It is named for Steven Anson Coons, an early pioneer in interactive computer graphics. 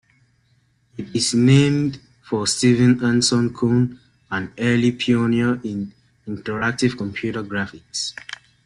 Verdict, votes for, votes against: rejected, 0, 2